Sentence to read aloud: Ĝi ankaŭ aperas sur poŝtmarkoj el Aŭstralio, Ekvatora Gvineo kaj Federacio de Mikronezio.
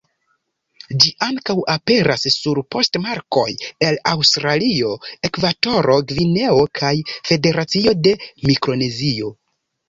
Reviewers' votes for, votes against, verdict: 1, 2, rejected